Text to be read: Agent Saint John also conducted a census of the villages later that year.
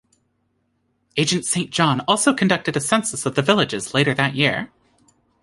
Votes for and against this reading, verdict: 2, 0, accepted